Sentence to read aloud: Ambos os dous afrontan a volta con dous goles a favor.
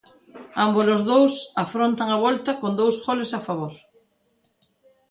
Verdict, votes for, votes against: accepted, 2, 0